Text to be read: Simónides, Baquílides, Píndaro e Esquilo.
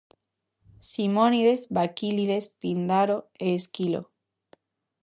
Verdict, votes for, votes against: rejected, 0, 2